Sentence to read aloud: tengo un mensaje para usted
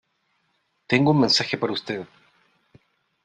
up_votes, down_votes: 3, 0